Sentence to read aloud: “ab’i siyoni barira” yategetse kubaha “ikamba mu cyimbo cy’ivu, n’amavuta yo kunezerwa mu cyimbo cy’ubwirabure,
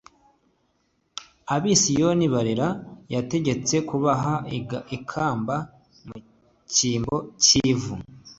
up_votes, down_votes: 1, 2